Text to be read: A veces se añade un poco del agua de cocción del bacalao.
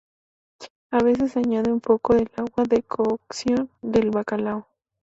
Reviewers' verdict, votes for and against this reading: rejected, 0, 2